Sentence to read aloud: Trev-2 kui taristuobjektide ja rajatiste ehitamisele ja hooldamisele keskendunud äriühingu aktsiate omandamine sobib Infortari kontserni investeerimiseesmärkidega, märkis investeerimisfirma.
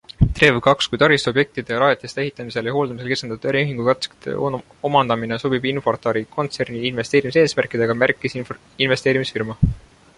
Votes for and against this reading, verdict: 0, 2, rejected